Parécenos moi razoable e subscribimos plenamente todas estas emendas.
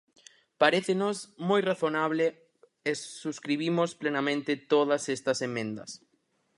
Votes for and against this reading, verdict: 0, 4, rejected